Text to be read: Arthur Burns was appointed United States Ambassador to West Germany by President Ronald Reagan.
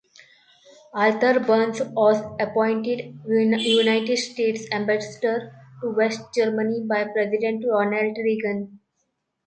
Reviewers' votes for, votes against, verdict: 1, 2, rejected